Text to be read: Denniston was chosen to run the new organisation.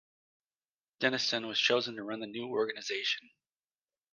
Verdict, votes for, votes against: accepted, 2, 1